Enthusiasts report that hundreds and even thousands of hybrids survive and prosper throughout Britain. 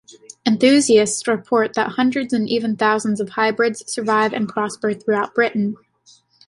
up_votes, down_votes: 2, 0